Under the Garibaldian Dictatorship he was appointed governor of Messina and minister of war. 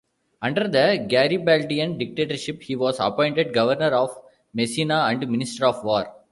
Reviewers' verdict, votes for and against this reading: accepted, 2, 0